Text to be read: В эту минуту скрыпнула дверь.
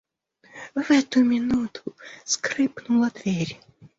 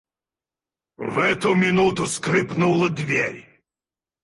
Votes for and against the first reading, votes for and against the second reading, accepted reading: 2, 0, 2, 4, first